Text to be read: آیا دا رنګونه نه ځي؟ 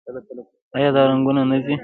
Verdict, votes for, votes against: rejected, 1, 2